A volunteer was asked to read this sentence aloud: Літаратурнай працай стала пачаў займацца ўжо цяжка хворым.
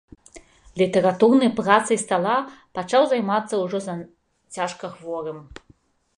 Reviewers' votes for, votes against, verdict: 1, 2, rejected